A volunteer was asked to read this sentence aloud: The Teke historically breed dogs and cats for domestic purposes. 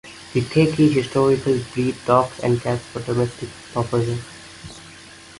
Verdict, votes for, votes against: accepted, 2, 1